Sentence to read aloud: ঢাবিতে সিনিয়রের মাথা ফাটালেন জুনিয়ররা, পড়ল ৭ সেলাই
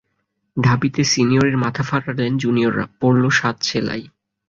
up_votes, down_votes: 0, 2